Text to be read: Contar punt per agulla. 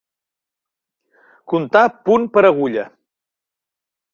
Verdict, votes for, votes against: accepted, 3, 0